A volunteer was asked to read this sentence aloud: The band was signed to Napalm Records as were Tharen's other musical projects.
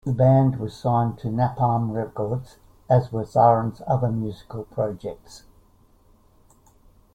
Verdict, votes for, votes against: rejected, 0, 2